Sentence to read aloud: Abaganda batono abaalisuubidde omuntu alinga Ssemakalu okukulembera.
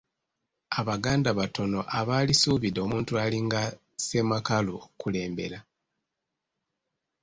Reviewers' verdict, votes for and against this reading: accepted, 2, 0